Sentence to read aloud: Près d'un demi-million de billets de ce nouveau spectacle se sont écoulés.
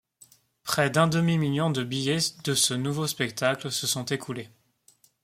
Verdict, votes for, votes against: rejected, 0, 2